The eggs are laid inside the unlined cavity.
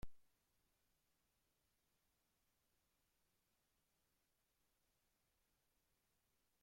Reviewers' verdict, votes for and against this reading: rejected, 0, 2